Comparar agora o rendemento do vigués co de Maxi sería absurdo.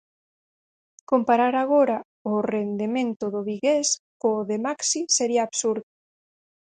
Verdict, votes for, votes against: accepted, 4, 2